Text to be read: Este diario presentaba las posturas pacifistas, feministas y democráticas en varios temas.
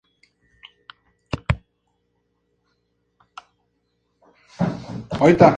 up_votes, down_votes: 2, 4